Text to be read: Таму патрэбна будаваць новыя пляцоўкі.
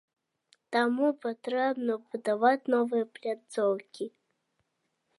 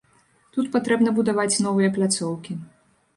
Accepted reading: first